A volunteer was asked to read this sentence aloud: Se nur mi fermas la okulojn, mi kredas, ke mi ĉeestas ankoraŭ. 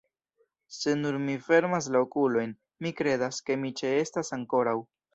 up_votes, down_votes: 1, 2